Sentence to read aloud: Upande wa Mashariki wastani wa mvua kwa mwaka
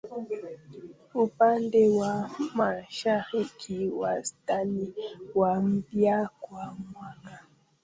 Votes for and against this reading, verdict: 0, 2, rejected